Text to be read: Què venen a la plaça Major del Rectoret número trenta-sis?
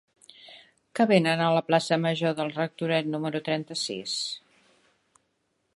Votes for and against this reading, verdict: 2, 0, accepted